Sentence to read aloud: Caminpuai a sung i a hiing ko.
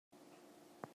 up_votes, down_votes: 0, 2